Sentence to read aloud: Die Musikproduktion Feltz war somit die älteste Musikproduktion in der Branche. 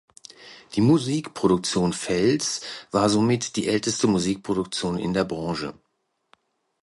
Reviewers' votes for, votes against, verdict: 2, 0, accepted